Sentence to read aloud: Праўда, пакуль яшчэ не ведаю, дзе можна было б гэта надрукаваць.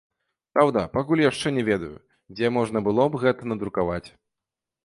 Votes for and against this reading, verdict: 2, 0, accepted